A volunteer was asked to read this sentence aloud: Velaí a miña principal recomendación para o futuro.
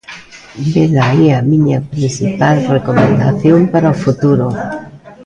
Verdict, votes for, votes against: rejected, 0, 2